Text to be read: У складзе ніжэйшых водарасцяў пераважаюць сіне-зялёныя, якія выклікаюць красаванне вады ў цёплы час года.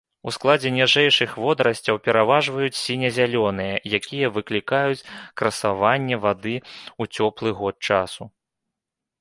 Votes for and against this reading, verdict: 0, 2, rejected